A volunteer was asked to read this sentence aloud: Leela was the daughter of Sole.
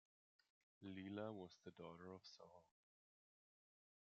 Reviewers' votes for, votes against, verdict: 2, 0, accepted